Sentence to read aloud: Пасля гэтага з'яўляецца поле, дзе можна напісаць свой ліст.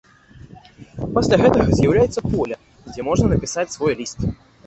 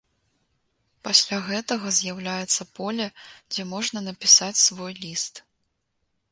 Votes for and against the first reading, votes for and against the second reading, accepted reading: 0, 2, 2, 0, second